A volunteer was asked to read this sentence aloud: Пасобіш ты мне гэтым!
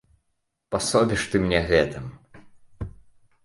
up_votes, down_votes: 3, 0